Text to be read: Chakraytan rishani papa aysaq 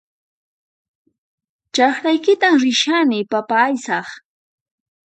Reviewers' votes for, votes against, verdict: 2, 4, rejected